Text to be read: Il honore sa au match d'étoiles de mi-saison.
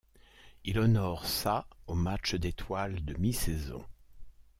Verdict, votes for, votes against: accepted, 2, 0